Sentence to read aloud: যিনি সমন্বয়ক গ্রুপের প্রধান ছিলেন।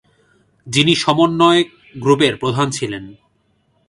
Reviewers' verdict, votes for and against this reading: accepted, 2, 0